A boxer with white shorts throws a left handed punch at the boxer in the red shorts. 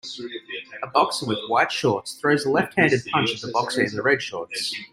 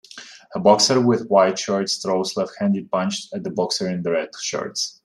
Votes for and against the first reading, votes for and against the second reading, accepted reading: 0, 2, 2, 1, second